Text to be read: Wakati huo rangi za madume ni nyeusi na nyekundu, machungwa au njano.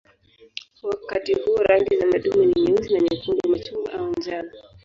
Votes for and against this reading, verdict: 2, 2, rejected